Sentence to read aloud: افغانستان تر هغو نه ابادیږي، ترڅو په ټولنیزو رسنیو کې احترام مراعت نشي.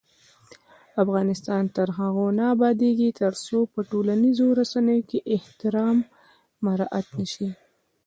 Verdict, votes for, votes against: rejected, 1, 2